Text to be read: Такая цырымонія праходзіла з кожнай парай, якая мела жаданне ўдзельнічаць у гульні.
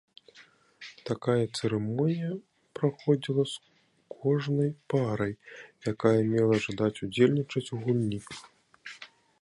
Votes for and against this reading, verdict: 0, 2, rejected